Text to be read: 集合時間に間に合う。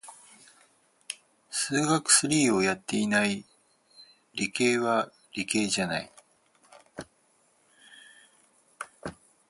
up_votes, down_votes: 2, 4